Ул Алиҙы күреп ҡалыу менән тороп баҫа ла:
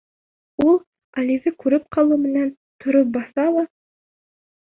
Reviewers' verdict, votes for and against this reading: rejected, 1, 2